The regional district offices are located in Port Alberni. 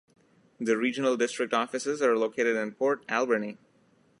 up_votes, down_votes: 2, 0